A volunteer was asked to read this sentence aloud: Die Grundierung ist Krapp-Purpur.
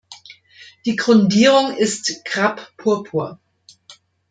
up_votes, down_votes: 2, 0